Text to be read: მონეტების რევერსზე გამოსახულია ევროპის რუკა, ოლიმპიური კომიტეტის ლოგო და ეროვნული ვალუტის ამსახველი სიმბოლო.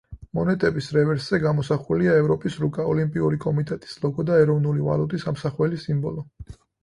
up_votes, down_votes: 4, 0